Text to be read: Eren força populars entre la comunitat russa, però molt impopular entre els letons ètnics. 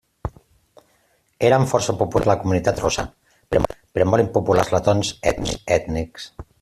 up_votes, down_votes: 0, 2